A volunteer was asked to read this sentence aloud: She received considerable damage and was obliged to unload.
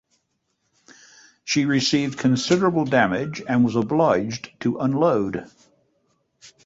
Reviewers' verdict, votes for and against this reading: accepted, 2, 0